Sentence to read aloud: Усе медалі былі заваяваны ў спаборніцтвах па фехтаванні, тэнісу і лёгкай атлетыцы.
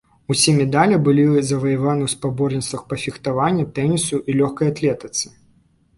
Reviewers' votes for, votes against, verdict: 0, 2, rejected